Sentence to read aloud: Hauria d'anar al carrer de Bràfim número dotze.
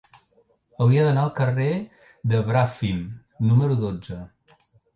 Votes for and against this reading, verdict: 2, 0, accepted